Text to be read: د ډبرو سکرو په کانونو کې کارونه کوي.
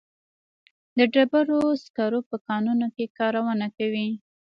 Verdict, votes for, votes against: rejected, 1, 2